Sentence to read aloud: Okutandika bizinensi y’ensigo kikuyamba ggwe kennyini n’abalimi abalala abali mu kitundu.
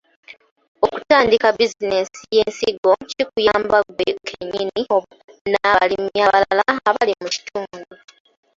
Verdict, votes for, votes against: rejected, 0, 2